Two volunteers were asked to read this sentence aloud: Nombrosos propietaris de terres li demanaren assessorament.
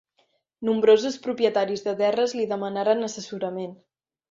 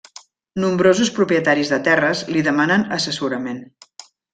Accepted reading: first